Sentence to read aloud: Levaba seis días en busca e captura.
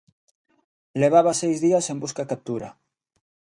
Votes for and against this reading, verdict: 2, 0, accepted